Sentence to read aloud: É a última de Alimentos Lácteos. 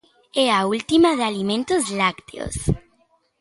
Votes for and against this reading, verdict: 2, 0, accepted